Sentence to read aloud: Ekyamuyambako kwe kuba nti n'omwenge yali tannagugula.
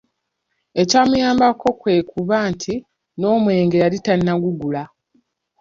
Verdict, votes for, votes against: rejected, 1, 2